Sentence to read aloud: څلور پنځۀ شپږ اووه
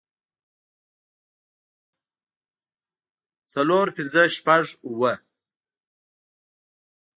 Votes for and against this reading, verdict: 1, 2, rejected